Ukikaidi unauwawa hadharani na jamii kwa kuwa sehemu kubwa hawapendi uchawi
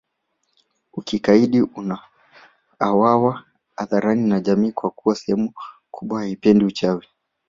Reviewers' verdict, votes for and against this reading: accepted, 2, 0